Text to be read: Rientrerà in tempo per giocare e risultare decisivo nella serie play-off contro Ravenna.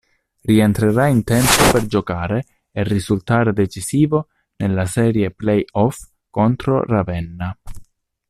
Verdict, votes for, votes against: accepted, 2, 0